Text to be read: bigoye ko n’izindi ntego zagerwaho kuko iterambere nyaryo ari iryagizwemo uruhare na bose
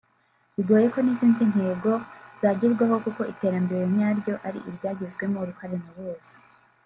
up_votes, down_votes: 1, 2